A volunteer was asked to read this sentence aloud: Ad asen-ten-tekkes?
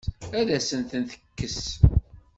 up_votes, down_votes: 1, 2